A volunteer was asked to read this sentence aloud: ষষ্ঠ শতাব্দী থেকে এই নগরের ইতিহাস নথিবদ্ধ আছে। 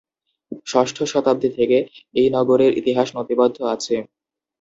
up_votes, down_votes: 2, 0